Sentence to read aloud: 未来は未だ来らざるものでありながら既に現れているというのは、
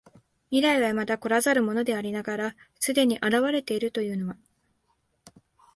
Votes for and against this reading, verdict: 2, 1, accepted